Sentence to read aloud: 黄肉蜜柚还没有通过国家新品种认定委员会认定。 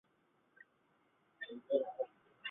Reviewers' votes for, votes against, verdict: 1, 2, rejected